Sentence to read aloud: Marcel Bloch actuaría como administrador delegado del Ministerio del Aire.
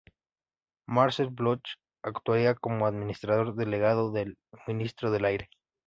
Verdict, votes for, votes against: rejected, 1, 2